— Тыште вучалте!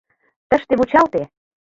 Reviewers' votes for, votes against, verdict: 2, 0, accepted